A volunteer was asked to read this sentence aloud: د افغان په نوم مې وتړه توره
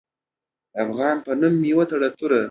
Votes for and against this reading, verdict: 3, 0, accepted